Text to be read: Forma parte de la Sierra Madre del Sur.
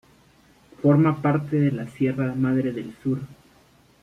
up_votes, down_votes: 2, 0